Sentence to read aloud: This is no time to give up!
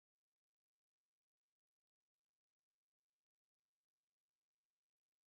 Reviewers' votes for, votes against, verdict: 0, 2, rejected